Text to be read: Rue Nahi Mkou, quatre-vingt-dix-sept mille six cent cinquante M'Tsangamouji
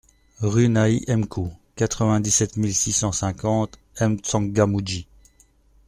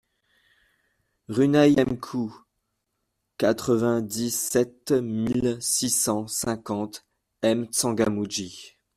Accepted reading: first